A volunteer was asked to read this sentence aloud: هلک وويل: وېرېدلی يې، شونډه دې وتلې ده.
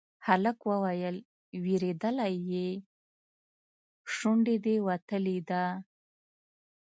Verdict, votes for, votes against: rejected, 1, 2